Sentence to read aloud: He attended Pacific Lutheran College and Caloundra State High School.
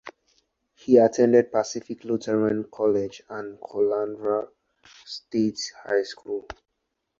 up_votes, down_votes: 4, 2